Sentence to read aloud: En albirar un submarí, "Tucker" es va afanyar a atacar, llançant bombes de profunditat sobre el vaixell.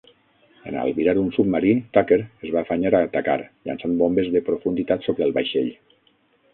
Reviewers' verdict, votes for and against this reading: rejected, 3, 6